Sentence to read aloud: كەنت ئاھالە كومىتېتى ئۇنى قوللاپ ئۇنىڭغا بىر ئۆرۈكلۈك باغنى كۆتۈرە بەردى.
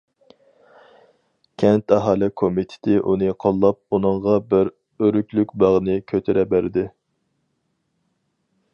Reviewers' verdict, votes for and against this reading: accepted, 4, 0